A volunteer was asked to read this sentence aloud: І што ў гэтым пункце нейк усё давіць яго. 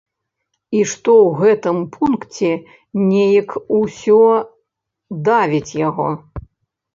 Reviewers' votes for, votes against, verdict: 2, 0, accepted